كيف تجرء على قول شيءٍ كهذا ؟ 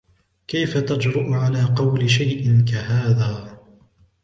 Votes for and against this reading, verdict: 2, 0, accepted